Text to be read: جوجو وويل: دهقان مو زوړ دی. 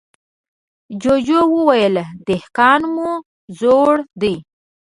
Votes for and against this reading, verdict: 2, 0, accepted